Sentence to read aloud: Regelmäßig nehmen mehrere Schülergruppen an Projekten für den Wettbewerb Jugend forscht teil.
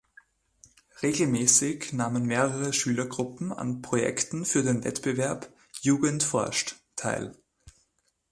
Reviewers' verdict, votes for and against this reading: rejected, 1, 2